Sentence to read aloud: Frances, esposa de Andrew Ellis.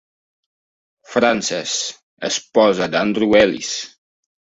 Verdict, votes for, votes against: accepted, 2, 0